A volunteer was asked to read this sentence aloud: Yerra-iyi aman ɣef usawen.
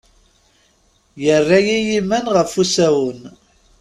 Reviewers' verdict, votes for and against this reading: rejected, 0, 2